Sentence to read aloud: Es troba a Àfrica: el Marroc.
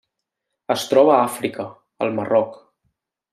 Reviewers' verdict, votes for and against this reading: accepted, 2, 0